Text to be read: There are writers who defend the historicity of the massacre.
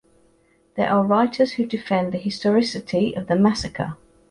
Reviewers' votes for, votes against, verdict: 1, 2, rejected